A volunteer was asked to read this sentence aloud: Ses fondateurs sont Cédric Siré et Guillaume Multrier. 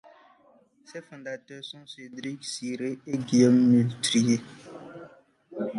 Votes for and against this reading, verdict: 0, 2, rejected